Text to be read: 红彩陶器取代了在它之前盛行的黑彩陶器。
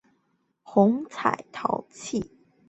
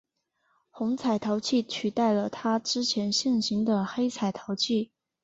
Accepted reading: second